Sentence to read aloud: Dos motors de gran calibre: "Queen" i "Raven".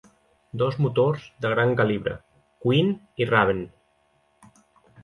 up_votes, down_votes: 2, 0